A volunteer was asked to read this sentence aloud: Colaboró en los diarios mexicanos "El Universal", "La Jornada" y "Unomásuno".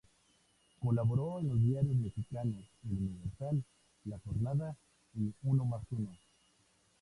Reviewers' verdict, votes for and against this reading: rejected, 0, 2